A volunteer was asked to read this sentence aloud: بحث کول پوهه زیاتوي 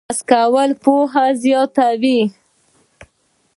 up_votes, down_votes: 0, 2